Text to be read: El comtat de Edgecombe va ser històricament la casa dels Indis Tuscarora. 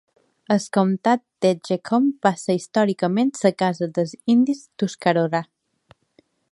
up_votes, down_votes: 0, 2